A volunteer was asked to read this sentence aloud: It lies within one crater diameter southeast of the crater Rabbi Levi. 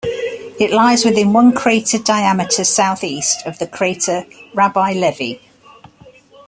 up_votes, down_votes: 2, 0